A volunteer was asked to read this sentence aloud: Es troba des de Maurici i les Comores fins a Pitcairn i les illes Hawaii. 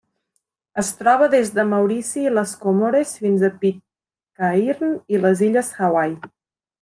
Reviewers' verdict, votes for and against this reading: rejected, 0, 2